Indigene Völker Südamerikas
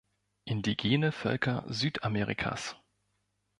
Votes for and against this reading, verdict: 2, 0, accepted